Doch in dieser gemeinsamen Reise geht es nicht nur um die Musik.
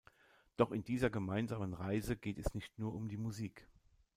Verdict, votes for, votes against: accepted, 2, 0